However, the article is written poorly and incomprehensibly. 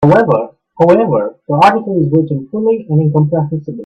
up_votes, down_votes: 0, 2